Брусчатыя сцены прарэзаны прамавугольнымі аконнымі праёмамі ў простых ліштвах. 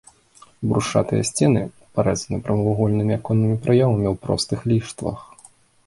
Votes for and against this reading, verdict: 1, 2, rejected